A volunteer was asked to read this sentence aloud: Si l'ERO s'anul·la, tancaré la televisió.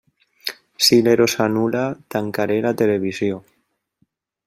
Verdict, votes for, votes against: rejected, 1, 2